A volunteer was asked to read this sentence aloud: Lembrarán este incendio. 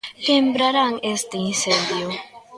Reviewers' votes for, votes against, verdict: 1, 2, rejected